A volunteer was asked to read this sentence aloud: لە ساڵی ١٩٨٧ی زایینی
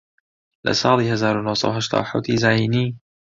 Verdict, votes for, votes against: rejected, 0, 2